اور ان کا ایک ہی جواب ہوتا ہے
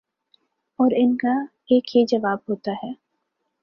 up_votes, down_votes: 2, 0